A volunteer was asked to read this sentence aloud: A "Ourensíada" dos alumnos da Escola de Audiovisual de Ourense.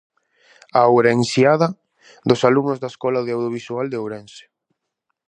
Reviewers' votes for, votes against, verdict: 2, 0, accepted